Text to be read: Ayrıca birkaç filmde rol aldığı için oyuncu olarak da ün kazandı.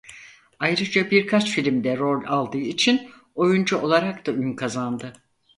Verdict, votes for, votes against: accepted, 4, 0